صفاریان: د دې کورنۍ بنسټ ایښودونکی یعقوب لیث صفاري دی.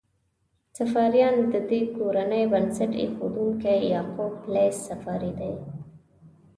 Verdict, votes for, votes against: accepted, 2, 0